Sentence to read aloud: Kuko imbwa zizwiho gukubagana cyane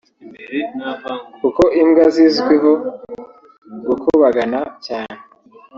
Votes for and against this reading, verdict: 1, 2, rejected